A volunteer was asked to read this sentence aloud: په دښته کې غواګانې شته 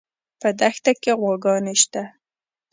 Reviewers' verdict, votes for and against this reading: accepted, 2, 0